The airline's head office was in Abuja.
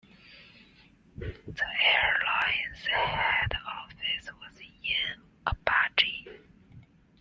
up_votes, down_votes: 1, 2